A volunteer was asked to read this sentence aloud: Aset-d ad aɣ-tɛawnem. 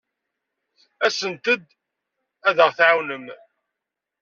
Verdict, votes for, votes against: rejected, 1, 2